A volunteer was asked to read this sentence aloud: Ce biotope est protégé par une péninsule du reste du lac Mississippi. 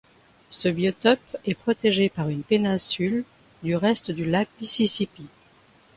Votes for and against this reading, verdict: 2, 0, accepted